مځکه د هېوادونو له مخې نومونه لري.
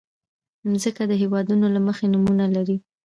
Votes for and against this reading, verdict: 2, 0, accepted